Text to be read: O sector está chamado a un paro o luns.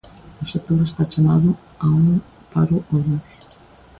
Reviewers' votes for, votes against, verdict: 2, 0, accepted